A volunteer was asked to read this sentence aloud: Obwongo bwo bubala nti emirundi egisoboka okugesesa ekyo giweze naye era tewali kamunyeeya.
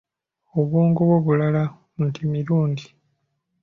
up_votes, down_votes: 0, 2